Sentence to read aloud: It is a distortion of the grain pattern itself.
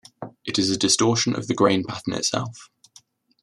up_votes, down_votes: 2, 0